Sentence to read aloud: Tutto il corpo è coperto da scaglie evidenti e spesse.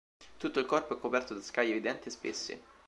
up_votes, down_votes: 2, 0